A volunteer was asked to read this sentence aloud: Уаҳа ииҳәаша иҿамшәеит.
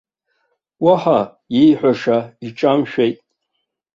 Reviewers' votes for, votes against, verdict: 2, 0, accepted